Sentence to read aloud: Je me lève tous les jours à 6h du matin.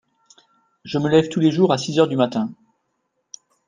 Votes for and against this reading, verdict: 0, 2, rejected